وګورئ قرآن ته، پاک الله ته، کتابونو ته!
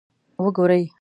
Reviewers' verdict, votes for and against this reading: rejected, 1, 2